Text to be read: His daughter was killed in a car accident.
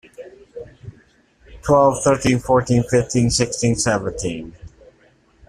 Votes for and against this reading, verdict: 0, 2, rejected